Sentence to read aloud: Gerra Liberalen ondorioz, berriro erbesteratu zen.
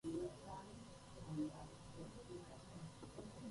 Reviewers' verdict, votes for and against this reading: rejected, 0, 4